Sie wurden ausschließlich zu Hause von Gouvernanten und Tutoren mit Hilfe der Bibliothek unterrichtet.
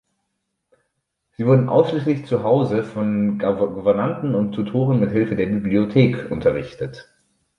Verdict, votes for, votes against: rejected, 0, 2